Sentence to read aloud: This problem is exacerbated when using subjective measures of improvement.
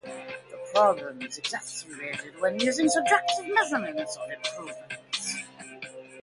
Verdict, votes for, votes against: rejected, 0, 2